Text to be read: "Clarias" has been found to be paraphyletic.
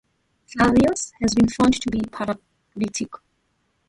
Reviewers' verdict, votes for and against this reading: rejected, 0, 2